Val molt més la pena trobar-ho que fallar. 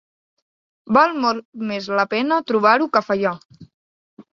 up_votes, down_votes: 1, 2